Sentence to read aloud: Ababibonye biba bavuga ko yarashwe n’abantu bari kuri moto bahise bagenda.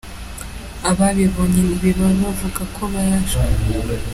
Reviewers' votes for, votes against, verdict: 0, 3, rejected